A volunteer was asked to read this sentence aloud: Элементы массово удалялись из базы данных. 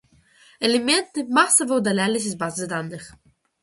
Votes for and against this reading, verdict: 2, 1, accepted